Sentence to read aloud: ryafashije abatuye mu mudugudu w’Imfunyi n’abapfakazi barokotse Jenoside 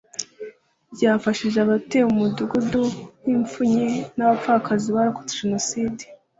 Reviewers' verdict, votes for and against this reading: accepted, 2, 0